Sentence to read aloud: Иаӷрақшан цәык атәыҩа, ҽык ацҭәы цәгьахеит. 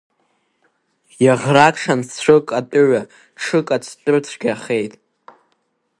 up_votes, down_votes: 2, 3